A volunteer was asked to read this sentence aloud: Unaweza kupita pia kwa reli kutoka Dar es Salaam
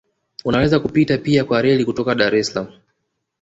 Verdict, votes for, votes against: rejected, 1, 2